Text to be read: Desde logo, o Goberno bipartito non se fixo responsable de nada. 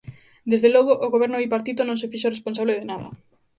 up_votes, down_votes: 4, 1